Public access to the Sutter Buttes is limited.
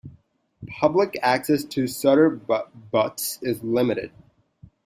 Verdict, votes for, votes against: rejected, 0, 2